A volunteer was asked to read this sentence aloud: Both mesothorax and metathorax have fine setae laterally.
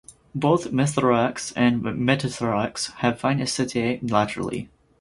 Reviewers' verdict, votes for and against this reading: rejected, 2, 4